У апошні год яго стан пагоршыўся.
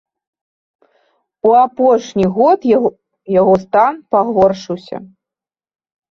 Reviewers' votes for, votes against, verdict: 1, 2, rejected